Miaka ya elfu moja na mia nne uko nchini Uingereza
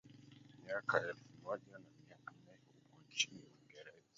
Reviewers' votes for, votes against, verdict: 0, 3, rejected